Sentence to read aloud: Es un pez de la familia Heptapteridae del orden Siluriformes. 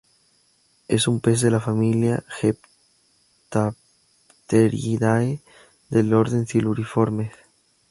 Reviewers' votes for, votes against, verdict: 2, 0, accepted